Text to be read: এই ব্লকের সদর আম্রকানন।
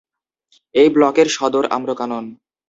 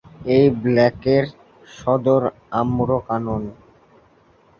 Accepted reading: first